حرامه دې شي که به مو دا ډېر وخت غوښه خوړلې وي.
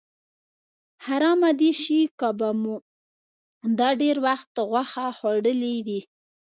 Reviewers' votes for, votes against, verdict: 2, 0, accepted